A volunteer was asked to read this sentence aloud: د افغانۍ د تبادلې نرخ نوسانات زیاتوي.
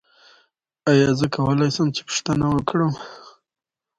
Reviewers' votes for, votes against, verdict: 0, 2, rejected